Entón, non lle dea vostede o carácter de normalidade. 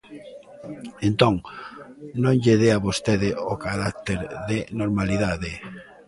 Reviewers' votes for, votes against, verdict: 1, 2, rejected